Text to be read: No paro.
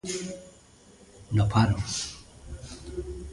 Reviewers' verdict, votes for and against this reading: accepted, 2, 0